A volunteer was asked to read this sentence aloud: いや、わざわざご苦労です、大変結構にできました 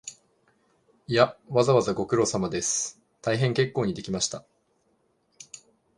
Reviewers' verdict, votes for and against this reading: accepted, 2, 1